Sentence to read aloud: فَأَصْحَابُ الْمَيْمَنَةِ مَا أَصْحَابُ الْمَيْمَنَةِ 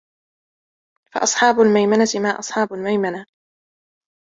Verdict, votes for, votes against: rejected, 1, 2